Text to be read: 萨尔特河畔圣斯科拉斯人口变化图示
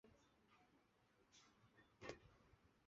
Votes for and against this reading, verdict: 0, 4, rejected